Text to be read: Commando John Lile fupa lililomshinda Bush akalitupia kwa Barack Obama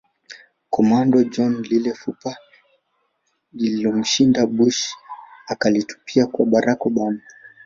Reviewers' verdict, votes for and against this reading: accepted, 2, 1